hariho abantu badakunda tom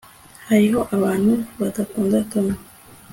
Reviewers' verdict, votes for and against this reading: accepted, 2, 0